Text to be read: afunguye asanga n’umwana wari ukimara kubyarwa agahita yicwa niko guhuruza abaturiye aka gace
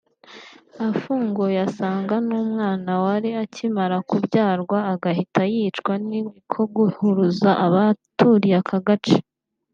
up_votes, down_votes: 1, 2